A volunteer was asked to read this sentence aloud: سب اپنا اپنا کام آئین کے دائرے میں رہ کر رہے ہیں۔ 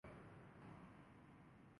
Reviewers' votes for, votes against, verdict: 0, 2, rejected